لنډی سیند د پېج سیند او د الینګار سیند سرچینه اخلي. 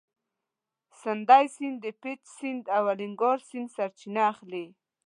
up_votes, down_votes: 1, 2